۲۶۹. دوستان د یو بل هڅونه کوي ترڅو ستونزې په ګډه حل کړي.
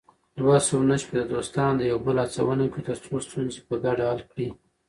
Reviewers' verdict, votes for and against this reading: rejected, 0, 2